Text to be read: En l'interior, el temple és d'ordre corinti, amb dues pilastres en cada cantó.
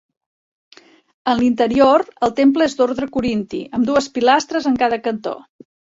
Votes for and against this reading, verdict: 3, 1, accepted